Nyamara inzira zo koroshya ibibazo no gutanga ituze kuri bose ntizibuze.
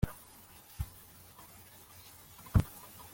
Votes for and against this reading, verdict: 0, 2, rejected